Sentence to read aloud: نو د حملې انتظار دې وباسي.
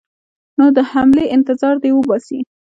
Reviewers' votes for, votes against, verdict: 2, 1, accepted